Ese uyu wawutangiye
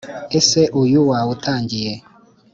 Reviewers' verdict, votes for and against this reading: accepted, 3, 0